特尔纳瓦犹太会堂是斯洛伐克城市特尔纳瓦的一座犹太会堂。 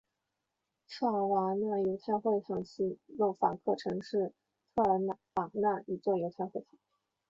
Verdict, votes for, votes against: accepted, 2, 0